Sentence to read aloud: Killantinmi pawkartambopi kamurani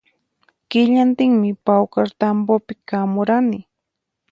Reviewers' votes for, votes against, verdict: 4, 0, accepted